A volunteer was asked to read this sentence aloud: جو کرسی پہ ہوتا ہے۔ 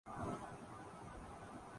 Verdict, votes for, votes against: rejected, 0, 2